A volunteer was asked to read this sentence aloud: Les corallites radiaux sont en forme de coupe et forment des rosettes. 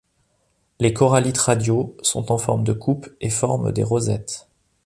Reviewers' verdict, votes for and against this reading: accepted, 2, 0